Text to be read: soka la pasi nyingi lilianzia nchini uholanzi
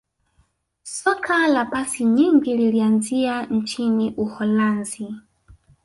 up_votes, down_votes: 2, 0